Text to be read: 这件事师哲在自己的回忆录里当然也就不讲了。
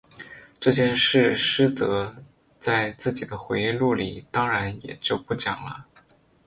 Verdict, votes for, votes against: rejected, 0, 2